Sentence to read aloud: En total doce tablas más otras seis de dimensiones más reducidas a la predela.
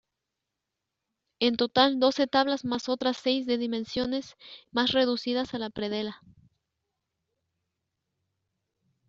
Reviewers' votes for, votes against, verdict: 0, 3, rejected